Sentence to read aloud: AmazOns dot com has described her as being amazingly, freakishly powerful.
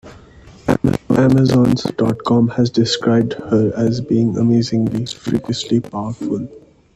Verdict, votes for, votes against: accepted, 2, 0